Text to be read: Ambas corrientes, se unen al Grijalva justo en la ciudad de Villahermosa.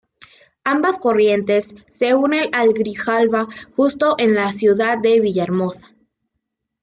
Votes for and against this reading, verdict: 2, 0, accepted